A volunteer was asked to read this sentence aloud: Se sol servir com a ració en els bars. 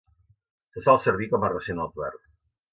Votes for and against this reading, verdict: 2, 0, accepted